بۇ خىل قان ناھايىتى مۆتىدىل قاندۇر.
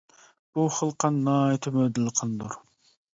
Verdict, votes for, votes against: rejected, 0, 2